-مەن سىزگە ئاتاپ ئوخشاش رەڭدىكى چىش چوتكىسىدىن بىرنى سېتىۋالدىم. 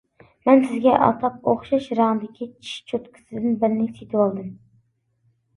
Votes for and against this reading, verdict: 2, 0, accepted